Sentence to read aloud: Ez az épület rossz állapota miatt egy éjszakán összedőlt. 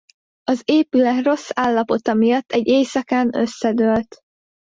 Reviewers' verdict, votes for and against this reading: rejected, 1, 2